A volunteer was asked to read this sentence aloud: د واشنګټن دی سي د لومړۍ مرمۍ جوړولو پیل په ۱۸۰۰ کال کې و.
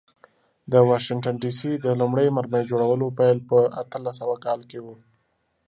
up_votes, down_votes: 0, 2